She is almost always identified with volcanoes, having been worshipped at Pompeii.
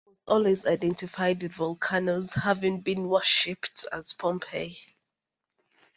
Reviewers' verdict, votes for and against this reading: rejected, 0, 2